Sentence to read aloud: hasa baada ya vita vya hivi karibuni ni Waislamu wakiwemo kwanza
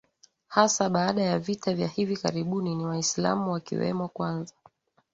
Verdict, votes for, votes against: accepted, 4, 2